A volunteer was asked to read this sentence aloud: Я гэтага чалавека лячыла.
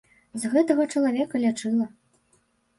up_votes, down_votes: 0, 3